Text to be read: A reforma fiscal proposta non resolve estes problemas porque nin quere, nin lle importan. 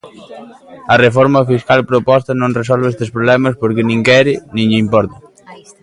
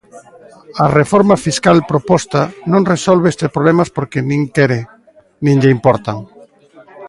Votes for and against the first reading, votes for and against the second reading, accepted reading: 2, 1, 1, 2, first